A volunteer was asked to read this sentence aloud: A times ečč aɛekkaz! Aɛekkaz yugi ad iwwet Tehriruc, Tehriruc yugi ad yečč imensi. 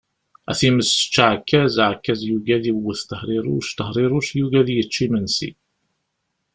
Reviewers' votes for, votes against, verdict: 2, 0, accepted